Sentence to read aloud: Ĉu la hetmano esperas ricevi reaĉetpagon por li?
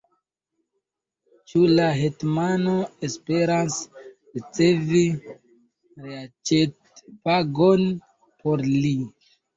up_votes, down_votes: 1, 2